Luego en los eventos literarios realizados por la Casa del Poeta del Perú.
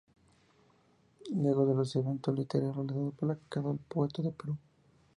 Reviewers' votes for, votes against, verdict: 2, 0, accepted